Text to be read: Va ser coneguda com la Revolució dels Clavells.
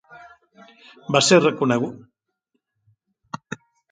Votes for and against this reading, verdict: 0, 2, rejected